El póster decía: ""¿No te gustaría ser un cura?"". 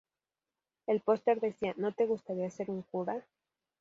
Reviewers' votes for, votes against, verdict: 2, 0, accepted